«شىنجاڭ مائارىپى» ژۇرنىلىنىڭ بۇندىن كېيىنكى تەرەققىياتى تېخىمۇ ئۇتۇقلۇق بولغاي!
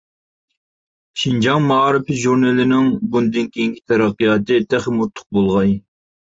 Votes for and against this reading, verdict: 0, 2, rejected